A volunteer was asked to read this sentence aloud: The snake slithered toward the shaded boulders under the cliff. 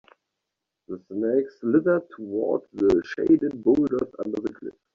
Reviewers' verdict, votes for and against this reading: accepted, 2, 0